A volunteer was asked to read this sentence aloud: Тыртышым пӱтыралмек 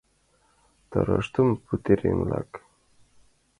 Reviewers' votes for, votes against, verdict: 0, 2, rejected